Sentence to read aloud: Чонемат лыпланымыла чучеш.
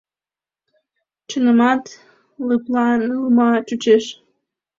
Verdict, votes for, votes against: rejected, 1, 2